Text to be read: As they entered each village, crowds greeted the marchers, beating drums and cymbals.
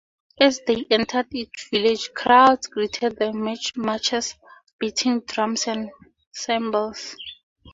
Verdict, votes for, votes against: rejected, 0, 2